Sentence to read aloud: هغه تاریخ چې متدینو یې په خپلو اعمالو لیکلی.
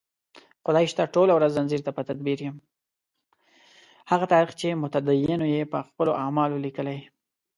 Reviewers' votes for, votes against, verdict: 1, 2, rejected